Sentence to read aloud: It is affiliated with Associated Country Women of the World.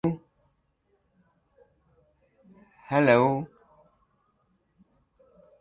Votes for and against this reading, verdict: 0, 2, rejected